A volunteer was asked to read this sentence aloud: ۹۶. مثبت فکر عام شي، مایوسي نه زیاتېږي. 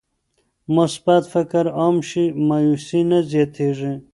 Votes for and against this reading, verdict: 0, 2, rejected